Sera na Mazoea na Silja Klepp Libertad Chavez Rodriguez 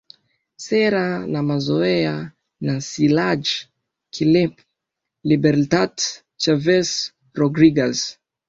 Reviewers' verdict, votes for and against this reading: accepted, 4, 0